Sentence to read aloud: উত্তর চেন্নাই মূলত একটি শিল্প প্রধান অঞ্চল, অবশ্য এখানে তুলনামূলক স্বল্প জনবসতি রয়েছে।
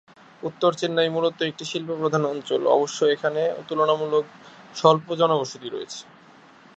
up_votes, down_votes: 3, 0